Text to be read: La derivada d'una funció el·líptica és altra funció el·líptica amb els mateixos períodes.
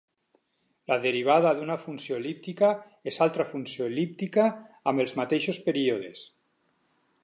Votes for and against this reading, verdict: 10, 0, accepted